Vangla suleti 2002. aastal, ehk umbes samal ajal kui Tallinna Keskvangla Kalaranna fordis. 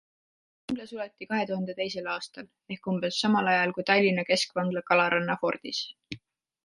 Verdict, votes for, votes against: rejected, 0, 2